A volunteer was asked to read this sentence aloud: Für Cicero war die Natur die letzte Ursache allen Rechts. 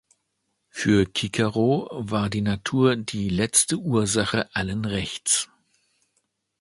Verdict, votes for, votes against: rejected, 0, 2